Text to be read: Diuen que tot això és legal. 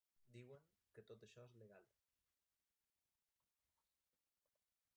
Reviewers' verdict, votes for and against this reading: rejected, 1, 2